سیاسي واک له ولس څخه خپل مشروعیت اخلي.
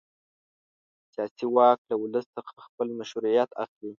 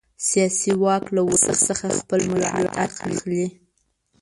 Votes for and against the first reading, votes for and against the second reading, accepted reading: 2, 0, 1, 2, first